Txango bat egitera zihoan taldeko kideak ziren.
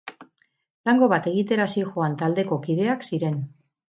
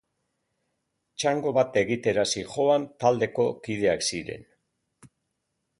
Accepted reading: second